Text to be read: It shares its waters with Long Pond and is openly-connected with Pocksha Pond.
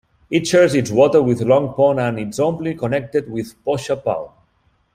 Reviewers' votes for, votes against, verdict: 1, 2, rejected